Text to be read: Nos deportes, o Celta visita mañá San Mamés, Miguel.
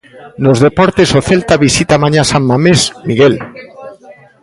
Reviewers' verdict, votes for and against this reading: rejected, 1, 2